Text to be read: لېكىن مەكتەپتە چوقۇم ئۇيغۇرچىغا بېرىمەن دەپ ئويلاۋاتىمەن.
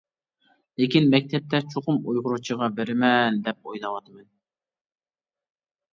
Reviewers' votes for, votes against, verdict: 2, 0, accepted